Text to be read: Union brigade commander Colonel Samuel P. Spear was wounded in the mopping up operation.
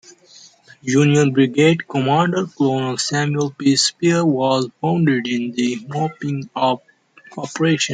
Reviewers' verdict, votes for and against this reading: accepted, 2, 0